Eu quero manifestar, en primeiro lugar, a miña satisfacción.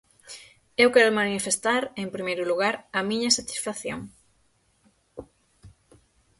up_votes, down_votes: 6, 0